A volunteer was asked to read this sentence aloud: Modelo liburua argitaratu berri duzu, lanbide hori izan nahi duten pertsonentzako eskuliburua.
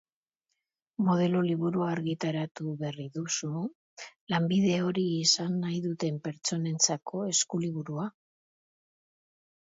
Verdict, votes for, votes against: accepted, 3, 1